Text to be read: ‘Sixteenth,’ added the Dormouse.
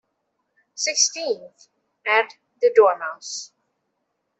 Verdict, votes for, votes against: accepted, 3, 1